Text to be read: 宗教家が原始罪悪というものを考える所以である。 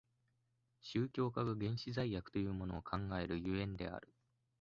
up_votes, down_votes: 2, 0